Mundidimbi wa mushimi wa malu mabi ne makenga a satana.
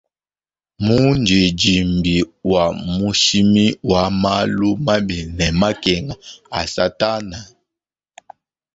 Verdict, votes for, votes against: accepted, 2, 0